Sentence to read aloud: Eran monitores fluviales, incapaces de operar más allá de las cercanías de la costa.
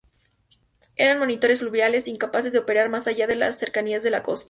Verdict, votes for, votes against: rejected, 0, 2